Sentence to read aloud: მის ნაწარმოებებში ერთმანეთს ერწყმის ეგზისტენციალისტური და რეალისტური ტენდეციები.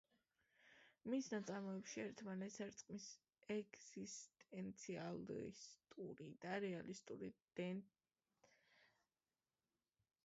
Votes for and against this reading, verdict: 0, 2, rejected